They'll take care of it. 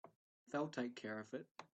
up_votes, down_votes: 4, 1